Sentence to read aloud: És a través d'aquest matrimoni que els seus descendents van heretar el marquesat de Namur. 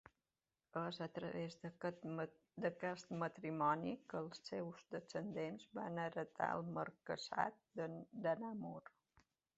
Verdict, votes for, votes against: rejected, 0, 2